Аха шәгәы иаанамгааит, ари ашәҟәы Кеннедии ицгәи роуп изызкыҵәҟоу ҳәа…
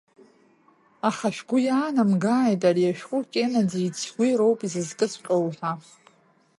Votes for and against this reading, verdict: 2, 0, accepted